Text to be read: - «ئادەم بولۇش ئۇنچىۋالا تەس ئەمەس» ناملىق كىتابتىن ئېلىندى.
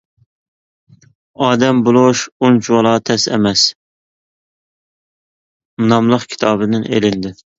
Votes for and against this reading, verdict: 1, 2, rejected